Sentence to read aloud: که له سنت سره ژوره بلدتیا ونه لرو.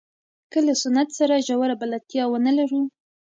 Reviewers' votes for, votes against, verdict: 1, 2, rejected